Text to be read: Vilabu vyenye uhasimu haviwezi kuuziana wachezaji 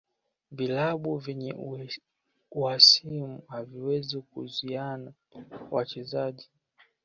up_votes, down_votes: 1, 2